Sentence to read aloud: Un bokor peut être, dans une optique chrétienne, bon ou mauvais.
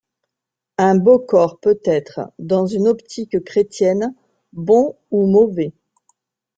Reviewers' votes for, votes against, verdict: 0, 2, rejected